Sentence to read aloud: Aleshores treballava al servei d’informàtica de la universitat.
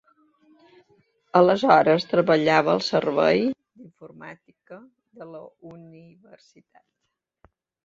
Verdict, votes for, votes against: rejected, 1, 2